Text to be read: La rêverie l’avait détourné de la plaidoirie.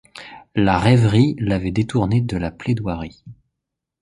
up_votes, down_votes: 2, 0